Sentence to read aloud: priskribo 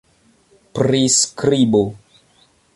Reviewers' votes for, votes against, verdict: 2, 1, accepted